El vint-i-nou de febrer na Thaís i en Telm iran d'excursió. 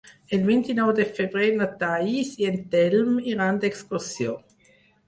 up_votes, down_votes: 4, 2